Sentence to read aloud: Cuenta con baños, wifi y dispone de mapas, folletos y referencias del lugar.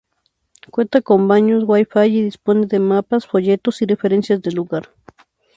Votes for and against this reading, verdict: 0, 2, rejected